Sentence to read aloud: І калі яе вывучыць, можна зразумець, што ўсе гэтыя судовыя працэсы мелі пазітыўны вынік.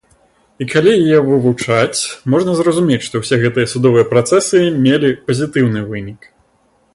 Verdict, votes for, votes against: accepted, 2, 1